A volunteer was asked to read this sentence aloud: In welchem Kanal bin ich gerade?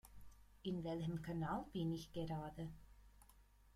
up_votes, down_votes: 2, 0